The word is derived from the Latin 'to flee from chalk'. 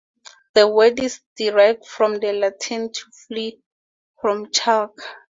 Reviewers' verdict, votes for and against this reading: accepted, 2, 0